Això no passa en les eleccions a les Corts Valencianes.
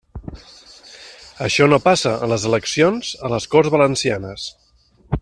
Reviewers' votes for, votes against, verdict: 0, 2, rejected